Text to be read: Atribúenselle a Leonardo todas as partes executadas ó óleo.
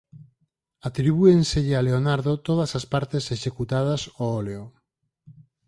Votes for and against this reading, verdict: 4, 0, accepted